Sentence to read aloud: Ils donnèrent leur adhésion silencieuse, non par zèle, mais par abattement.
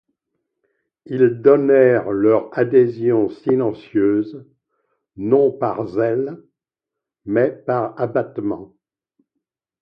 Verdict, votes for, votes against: accepted, 2, 0